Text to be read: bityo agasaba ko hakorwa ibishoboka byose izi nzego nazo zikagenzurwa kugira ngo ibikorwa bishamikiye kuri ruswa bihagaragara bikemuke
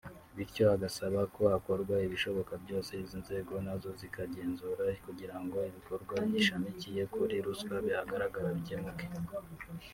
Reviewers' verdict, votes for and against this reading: rejected, 0, 2